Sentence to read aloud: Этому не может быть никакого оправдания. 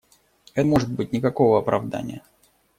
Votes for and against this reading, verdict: 0, 2, rejected